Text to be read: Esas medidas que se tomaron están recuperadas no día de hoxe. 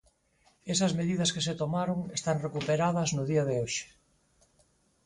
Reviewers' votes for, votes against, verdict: 4, 0, accepted